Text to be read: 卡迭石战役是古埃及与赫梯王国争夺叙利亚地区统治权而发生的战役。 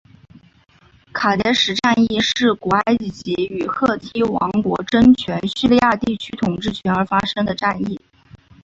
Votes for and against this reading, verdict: 0, 4, rejected